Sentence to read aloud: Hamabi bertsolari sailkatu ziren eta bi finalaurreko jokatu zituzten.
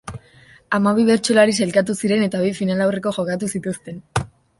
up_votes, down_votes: 2, 0